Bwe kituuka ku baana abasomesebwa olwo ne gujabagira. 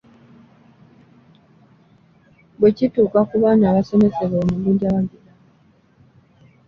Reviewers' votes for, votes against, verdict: 0, 2, rejected